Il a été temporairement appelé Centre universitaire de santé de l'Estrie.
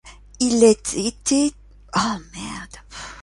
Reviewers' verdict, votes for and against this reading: rejected, 1, 2